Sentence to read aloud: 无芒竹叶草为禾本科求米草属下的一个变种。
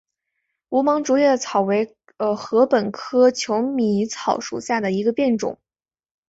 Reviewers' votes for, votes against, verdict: 4, 0, accepted